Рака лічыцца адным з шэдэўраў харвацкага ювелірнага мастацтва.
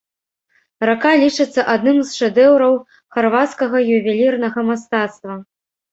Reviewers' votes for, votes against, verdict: 1, 2, rejected